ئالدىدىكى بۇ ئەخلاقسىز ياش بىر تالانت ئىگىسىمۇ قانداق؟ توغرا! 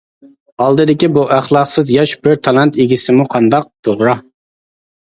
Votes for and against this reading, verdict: 2, 0, accepted